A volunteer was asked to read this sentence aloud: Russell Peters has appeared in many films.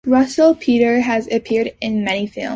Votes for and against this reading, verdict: 3, 4, rejected